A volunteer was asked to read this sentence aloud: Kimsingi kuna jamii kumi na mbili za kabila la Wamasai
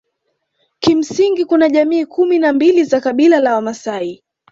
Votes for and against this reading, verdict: 2, 0, accepted